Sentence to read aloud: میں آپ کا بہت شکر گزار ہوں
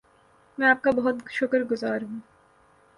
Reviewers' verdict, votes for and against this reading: accepted, 6, 0